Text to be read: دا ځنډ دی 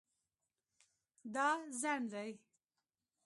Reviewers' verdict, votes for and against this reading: accepted, 2, 1